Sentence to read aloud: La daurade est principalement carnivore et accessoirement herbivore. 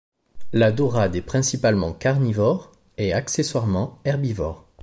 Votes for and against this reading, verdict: 2, 0, accepted